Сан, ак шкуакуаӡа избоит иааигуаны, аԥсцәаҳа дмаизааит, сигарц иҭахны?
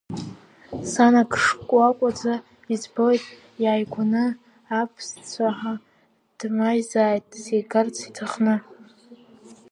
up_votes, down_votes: 0, 2